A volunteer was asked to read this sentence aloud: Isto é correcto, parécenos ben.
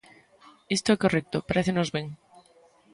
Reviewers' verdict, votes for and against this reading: accepted, 2, 0